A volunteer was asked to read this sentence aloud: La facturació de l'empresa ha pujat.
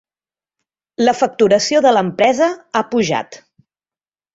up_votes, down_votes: 3, 0